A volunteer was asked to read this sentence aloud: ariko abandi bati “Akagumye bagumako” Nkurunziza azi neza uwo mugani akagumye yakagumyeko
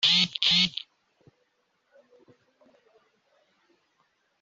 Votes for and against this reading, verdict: 0, 2, rejected